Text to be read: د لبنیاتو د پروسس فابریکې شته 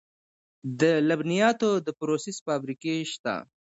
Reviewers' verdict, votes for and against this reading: accepted, 2, 0